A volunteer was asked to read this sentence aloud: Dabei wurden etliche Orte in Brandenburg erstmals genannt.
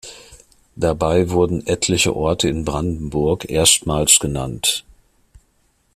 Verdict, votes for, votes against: accepted, 2, 0